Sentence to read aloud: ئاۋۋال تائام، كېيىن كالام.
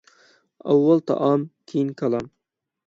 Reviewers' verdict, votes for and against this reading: accepted, 6, 0